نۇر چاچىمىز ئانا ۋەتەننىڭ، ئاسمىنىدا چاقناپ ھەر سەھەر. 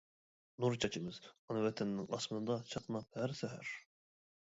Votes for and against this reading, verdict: 0, 2, rejected